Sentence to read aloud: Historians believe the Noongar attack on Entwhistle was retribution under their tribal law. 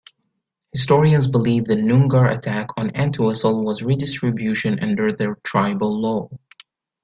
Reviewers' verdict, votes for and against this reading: rejected, 2, 3